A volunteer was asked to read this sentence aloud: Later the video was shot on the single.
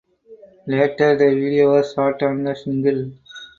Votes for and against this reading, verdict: 4, 0, accepted